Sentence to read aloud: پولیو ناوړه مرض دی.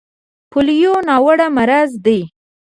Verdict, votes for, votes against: rejected, 1, 2